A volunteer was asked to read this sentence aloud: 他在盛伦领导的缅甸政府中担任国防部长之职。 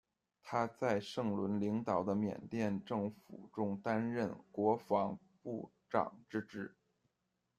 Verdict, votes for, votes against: accepted, 2, 0